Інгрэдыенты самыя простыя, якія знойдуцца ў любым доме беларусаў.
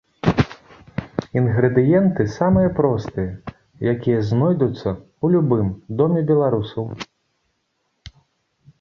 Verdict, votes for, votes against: accepted, 2, 0